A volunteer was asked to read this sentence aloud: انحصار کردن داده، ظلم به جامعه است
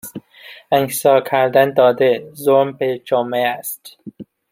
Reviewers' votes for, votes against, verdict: 0, 2, rejected